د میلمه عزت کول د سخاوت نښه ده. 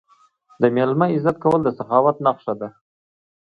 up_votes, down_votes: 2, 0